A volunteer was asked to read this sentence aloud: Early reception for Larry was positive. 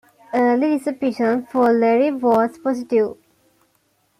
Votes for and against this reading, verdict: 0, 2, rejected